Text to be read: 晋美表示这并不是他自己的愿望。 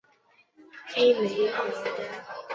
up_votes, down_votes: 0, 3